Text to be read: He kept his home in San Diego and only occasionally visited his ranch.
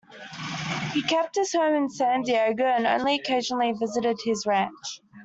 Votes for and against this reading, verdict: 2, 1, accepted